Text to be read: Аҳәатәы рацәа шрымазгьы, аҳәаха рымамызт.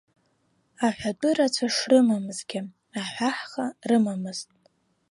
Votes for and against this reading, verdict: 0, 2, rejected